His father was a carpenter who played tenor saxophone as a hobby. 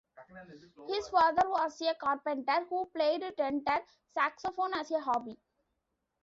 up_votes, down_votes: 0, 2